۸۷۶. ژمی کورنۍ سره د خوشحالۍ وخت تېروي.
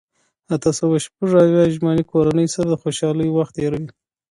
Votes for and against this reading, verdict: 0, 2, rejected